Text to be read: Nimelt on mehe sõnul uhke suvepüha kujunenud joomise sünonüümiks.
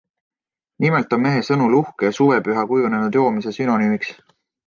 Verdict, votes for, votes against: accepted, 2, 0